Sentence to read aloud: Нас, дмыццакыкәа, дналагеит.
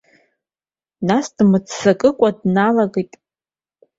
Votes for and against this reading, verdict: 2, 0, accepted